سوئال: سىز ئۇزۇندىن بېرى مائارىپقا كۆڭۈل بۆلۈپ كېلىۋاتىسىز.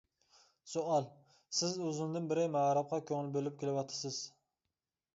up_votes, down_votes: 0, 2